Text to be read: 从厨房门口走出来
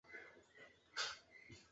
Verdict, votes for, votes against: rejected, 0, 3